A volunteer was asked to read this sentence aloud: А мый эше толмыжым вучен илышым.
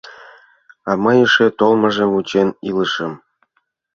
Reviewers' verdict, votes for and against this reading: accepted, 2, 0